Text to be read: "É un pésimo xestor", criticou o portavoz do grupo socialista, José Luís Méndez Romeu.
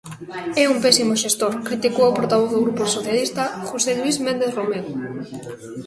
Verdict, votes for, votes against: rejected, 1, 2